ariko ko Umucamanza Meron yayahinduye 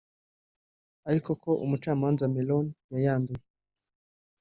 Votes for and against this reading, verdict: 2, 3, rejected